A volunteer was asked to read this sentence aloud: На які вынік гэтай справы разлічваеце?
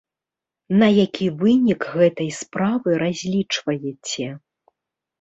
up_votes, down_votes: 2, 0